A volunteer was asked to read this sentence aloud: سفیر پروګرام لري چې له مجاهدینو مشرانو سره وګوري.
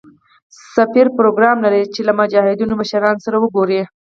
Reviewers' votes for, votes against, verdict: 0, 4, rejected